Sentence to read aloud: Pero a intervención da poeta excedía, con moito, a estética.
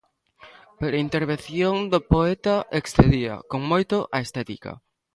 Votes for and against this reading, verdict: 0, 2, rejected